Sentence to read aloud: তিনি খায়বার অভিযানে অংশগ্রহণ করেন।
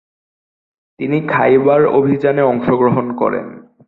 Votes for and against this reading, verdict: 1, 2, rejected